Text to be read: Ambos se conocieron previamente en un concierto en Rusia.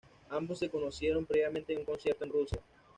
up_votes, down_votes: 2, 0